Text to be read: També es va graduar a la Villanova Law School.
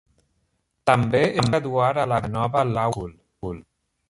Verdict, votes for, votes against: rejected, 0, 2